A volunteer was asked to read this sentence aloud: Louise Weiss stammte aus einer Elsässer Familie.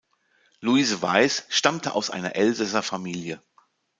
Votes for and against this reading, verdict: 1, 2, rejected